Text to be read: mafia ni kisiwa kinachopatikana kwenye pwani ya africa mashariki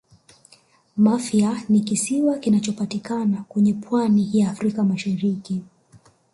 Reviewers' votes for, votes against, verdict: 3, 1, accepted